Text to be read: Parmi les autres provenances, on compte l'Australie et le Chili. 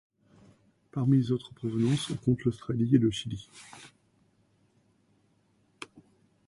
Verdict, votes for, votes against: rejected, 1, 2